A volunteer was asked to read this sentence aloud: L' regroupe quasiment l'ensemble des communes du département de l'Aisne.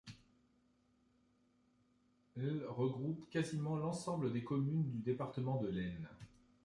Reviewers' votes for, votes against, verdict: 2, 0, accepted